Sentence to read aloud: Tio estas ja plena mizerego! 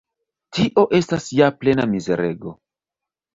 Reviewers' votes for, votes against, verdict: 1, 2, rejected